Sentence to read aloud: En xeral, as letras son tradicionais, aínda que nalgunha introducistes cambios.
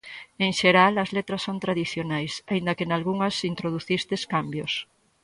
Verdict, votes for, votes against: rejected, 0, 4